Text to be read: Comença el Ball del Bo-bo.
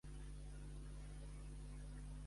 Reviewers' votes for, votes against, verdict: 0, 2, rejected